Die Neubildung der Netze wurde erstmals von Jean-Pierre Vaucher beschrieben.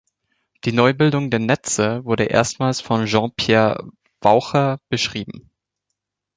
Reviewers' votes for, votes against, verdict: 0, 2, rejected